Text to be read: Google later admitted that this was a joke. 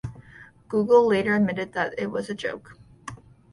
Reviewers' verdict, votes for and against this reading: rejected, 0, 2